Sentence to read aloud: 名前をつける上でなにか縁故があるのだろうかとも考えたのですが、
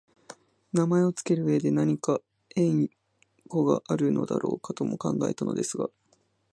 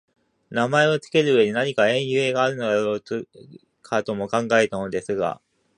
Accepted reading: first